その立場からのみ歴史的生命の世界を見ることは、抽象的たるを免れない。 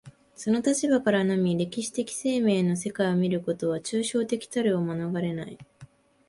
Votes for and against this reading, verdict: 2, 0, accepted